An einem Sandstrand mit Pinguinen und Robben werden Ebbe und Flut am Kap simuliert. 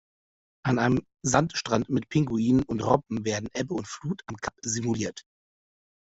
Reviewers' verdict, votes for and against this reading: accepted, 2, 0